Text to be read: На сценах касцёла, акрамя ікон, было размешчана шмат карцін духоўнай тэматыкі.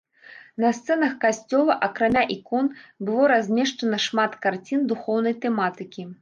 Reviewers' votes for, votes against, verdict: 1, 2, rejected